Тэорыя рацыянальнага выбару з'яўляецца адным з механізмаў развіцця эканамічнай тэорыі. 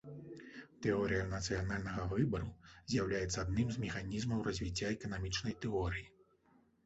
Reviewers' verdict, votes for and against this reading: rejected, 1, 2